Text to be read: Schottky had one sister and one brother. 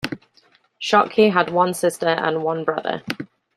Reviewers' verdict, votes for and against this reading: accepted, 2, 0